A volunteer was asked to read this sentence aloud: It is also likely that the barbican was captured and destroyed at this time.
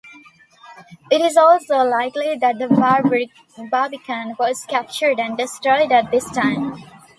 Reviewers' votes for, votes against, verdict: 0, 2, rejected